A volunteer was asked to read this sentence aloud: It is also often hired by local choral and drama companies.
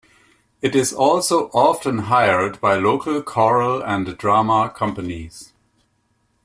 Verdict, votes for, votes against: accepted, 2, 0